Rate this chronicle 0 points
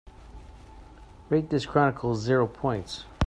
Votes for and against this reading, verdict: 0, 2, rejected